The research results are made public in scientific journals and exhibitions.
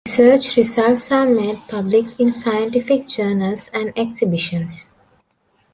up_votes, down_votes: 0, 2